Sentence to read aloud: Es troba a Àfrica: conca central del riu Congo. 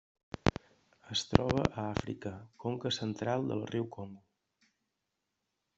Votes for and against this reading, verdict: 1, 2, rejected